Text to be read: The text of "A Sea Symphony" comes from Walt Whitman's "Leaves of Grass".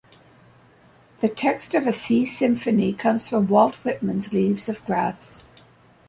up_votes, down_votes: 2, 0